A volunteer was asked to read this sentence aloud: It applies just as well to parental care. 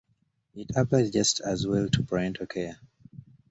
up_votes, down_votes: 1, 2